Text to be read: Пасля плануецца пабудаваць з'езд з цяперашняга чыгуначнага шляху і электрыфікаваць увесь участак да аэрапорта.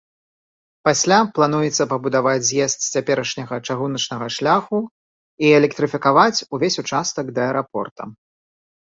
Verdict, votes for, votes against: accepted, 2, 0